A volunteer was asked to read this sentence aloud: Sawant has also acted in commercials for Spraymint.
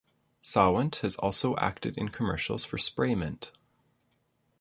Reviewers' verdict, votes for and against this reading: accepted, 2, 0